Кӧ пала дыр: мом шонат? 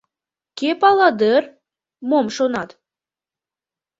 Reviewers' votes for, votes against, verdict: 2, 0, accepted